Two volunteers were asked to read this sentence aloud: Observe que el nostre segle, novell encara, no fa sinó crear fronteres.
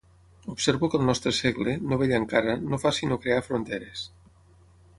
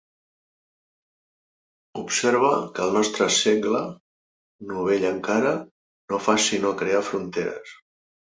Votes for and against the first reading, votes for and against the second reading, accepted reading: 3, 6, 2, 0, second